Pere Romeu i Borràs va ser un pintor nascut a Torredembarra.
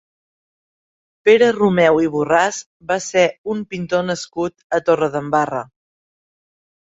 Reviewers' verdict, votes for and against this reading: accepted, 4, 0